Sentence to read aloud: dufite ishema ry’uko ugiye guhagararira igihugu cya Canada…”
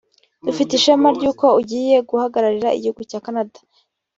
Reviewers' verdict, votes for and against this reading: accepted, 2, 0